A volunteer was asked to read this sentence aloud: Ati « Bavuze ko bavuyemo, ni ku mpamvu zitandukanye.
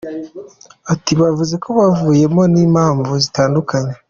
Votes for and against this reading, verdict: 2, 1, accepted